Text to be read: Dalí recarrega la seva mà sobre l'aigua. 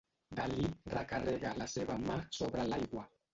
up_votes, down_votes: 0, 2